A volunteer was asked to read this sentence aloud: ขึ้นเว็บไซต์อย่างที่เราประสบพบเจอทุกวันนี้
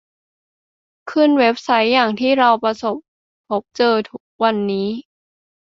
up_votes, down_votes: 2, 0